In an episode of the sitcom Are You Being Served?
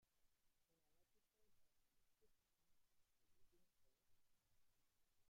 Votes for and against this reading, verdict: 0, 2, rejected